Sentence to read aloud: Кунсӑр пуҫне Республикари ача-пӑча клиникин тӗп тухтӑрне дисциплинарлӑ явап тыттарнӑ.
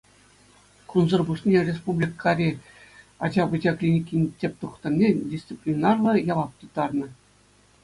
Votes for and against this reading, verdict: 2, 0, accepted